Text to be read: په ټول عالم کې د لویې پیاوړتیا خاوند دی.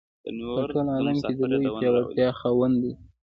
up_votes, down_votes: 0, 2